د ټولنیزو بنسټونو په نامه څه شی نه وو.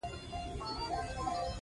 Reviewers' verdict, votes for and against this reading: accepted, 3, 2